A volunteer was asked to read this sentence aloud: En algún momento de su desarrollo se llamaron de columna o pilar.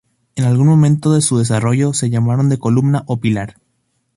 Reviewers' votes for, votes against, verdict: 2, 0, accepted